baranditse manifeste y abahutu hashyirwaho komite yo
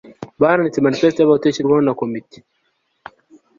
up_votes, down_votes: 0, 2